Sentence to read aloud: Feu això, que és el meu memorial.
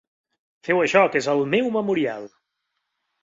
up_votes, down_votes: 2, 0